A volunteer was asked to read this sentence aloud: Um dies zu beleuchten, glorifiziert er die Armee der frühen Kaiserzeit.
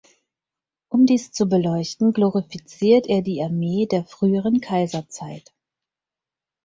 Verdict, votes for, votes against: rejected, 0, 4